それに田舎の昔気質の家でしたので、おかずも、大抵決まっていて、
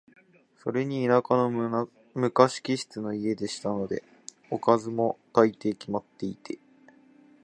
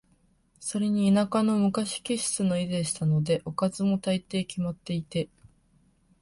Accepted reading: second